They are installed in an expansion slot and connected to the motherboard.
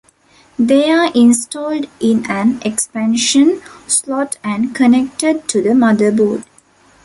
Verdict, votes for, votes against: accepted, 2, 1